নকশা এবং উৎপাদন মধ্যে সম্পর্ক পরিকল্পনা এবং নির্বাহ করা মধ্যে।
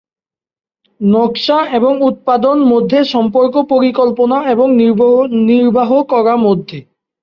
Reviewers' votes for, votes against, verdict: 0, 2, rejected